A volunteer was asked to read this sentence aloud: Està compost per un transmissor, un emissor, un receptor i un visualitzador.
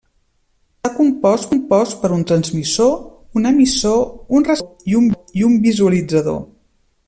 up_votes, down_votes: 0, 2